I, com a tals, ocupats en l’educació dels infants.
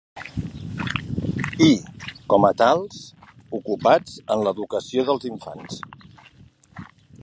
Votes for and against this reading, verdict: 2, 1, accepted